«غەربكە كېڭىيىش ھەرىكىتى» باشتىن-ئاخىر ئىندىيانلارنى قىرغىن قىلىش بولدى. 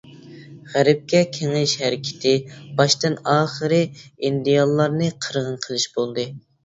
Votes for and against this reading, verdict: 0, 2, rejected